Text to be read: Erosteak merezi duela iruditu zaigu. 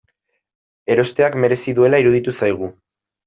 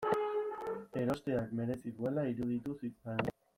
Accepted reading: first